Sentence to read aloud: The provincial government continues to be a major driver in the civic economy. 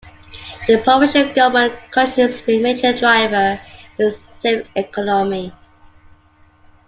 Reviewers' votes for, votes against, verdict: 0, 2, rejected